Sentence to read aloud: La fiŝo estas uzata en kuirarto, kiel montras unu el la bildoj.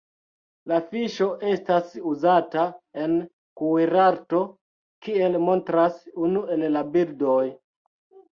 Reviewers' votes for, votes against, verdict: 2, 0, accepted